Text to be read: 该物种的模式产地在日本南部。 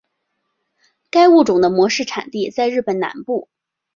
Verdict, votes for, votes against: accepted, 3, 0